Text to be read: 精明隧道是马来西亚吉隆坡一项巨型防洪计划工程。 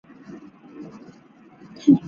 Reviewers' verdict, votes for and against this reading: rejected, 0, 5